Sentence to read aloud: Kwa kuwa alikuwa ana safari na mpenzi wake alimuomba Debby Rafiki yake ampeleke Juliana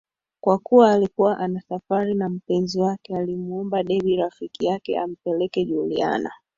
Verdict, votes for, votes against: accepted, 4, 2